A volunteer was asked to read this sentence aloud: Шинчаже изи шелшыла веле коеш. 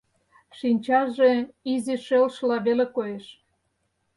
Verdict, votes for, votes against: accepted, 4, 0